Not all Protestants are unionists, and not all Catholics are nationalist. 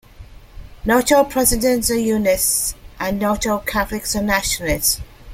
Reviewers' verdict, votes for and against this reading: rejected, 1, 2